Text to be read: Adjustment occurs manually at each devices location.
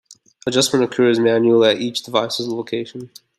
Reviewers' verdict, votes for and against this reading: accepted, 2, 0